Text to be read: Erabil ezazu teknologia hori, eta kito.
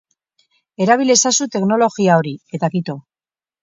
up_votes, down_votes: 2, 2